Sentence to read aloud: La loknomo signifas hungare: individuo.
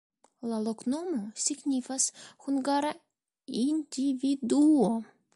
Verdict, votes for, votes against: rejected, 1, 2